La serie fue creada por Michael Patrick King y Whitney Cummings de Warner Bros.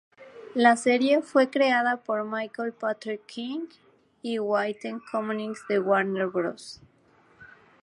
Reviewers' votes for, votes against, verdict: 2, 0, accepted